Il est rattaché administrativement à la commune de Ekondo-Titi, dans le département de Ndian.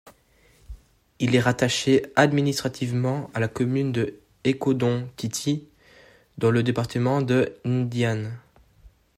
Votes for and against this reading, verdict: 2, 1, accepted